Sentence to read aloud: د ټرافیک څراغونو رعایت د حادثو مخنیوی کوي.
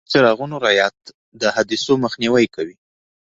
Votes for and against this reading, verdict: 1, 2, rejected